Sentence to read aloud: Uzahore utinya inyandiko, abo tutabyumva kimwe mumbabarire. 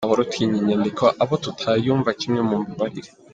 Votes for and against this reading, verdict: 1, 2, rejected